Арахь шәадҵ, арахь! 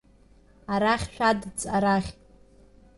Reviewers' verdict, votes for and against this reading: accepted, 2, 0